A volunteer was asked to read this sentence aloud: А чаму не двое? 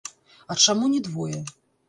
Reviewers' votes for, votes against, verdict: 0, 2, rejected